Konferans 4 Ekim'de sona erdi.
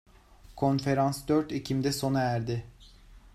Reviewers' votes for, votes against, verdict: 0, 2, rejected